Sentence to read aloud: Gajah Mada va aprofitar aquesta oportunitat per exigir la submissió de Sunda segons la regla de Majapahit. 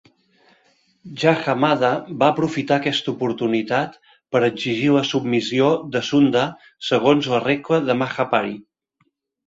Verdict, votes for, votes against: rejected, 1, 2